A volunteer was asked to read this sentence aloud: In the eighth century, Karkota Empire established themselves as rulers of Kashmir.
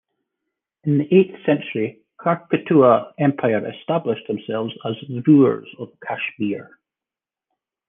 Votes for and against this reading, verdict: 0, 2, rejected